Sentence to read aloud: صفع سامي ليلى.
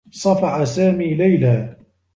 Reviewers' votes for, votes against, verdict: 2, 0, accepted